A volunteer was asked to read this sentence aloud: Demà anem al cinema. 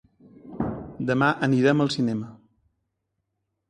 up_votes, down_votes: 1, 2